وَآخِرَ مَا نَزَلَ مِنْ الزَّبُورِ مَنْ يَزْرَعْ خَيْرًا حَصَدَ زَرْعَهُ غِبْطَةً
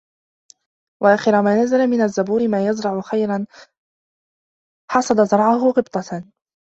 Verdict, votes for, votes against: rejected, 0, 2